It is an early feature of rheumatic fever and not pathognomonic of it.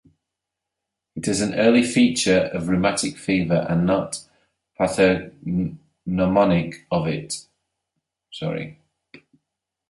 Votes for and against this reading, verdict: 0, 2, rejected